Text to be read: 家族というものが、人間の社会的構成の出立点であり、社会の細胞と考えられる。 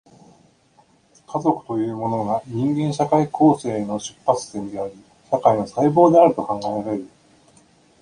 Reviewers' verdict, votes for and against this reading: rejected, 0, 2